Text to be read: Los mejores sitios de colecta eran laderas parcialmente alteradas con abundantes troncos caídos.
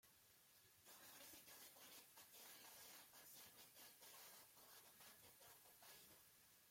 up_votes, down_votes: 0, 2